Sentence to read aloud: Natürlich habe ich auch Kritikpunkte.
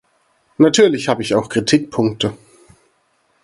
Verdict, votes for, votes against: accepted, 4, 0